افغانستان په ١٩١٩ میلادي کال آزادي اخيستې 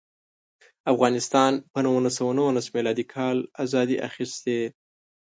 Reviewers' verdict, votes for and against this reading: rejected, 0, 2